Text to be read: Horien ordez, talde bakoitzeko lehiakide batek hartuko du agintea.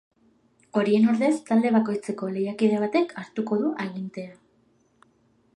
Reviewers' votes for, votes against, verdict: 2, 0, accepted